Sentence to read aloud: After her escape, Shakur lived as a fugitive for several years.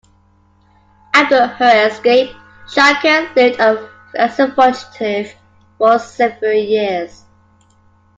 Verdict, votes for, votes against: rejected, 0, 2